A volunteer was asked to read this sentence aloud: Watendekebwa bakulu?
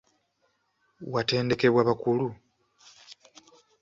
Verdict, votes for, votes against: accepted, 2, 0